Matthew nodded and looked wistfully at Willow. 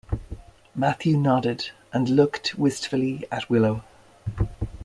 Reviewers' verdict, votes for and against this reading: accepted, 2, 0